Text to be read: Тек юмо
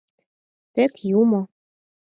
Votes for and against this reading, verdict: 4, 0, accepted